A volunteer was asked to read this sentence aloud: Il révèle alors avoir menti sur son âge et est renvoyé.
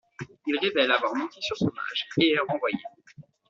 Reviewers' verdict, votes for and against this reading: rejected, 0, 2